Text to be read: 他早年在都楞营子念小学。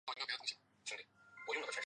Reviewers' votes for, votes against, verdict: 0, 2, rejected